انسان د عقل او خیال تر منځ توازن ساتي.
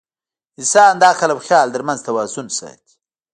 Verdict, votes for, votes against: rejected, 1, 2